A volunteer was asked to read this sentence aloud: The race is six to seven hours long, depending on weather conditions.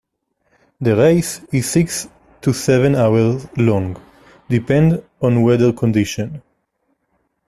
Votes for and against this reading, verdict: 2, 0, accepted